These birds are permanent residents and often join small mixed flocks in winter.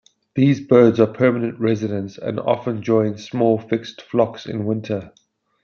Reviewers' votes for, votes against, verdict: 0, 2, rejected